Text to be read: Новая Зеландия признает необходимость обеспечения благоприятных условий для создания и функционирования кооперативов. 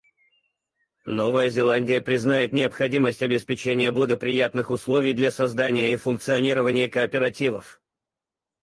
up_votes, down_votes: 0, 4